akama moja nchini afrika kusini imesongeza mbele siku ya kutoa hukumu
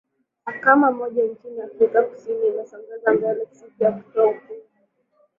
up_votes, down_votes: 3, 1